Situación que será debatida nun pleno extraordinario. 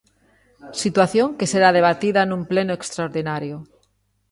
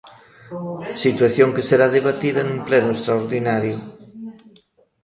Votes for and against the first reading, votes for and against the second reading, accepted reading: 2, 0, 1, 2, first